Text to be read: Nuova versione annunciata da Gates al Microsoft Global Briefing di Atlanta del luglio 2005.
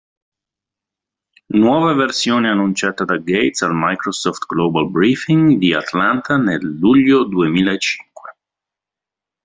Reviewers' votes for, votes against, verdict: 0, 2, rejected